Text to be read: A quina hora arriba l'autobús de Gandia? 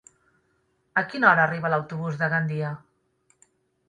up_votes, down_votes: 3, 0